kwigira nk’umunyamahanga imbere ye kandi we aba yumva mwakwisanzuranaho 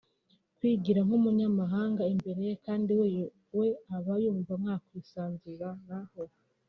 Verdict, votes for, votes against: accepted, 2, 0